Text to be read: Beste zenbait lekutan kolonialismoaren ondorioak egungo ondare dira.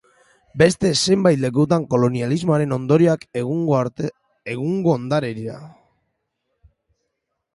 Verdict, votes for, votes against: rejected, 0, 2